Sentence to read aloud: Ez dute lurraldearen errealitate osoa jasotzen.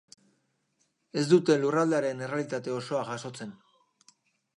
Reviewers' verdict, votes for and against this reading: accepted, 2, 0